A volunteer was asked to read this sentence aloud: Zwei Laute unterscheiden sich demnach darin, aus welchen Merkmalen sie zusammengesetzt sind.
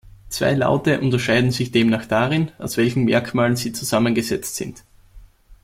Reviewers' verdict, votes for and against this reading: accepted, 2, 0